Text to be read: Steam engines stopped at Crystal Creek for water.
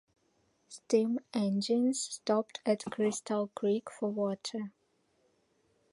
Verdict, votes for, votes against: accepted, 2, 0